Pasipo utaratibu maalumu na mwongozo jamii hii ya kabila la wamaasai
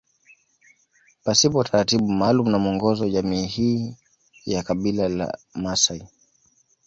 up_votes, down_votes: 1, 2